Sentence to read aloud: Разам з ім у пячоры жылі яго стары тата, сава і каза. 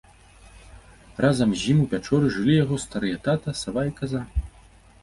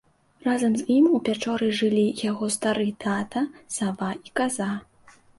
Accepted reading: second